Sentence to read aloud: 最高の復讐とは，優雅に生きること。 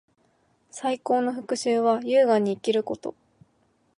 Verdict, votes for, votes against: rejected, 2, 4